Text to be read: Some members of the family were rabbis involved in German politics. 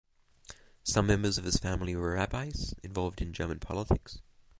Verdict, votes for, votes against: accepted, 2, 1